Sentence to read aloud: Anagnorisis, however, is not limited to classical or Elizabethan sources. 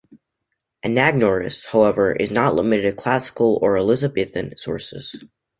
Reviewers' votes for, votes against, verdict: 0, 2, rejected